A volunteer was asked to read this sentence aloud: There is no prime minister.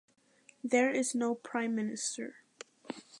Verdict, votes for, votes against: accepted, 2, 0